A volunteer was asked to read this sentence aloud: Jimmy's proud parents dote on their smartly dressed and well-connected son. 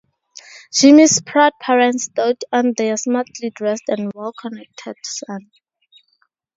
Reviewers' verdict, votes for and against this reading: accepted, 2, 0